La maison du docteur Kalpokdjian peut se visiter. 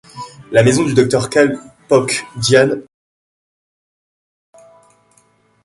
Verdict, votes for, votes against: rejected, 0, 2